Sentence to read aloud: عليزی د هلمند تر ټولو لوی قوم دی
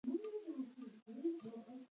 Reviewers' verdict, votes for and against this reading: rejected, 1, 2